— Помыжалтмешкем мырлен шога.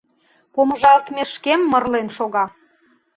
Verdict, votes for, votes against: accepted, 2, 0